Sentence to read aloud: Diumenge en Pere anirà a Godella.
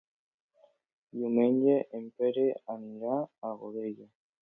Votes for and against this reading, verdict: 2, 0, accepted